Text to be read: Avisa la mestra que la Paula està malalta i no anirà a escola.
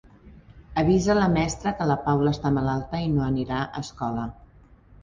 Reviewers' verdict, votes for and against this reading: accepted, 4, 0